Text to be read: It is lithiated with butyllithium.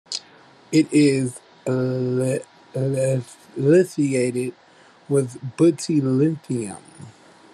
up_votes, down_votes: 0, 2